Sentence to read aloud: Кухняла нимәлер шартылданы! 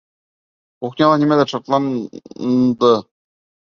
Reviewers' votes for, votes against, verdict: 0, 2, rejected